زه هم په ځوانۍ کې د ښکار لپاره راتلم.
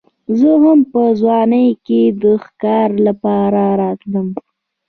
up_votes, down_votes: 1, 2